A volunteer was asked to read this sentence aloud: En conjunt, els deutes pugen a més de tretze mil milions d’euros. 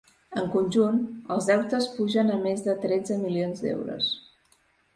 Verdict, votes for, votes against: rejected, 1, 2